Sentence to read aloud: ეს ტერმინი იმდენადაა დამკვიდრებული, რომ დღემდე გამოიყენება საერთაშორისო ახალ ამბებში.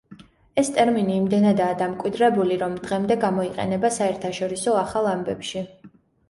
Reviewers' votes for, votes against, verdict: 2, 0, accepted